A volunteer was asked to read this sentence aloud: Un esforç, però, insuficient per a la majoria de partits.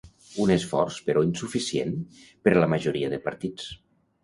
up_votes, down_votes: 1, 2